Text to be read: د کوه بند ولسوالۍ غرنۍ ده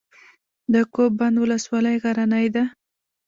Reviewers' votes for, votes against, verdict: 0, 2, rejected